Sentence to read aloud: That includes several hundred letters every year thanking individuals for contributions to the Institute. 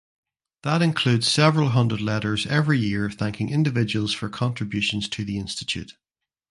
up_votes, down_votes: 2, 0